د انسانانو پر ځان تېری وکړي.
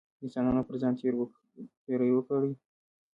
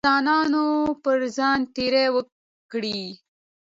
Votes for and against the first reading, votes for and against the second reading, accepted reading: 1, 2, 2, 0, second